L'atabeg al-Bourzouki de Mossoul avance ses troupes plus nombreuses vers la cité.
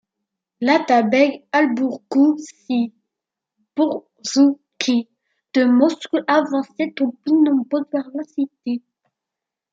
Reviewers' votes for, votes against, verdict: 0, 2, rejected